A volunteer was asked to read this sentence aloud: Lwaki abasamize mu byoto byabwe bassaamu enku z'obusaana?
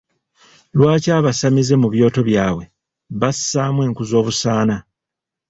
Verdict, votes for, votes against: accepted, 2, 0